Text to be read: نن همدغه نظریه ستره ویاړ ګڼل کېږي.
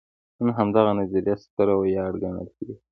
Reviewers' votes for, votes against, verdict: 2, 0, accepted